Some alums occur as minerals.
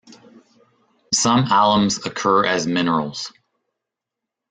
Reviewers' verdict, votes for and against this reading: accepted, 2, 0